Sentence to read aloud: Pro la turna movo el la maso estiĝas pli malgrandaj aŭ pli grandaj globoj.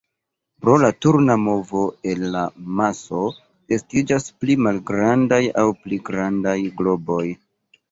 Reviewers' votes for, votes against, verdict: 2, 0, accepted